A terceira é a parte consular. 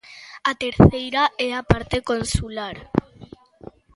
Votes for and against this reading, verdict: 2, 0, accepted